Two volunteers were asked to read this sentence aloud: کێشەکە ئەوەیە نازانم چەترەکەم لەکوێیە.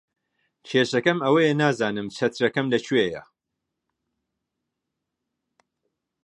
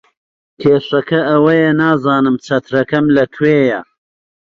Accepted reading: second